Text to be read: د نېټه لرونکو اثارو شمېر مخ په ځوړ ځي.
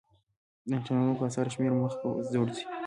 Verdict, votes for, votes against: accepted, 3, 0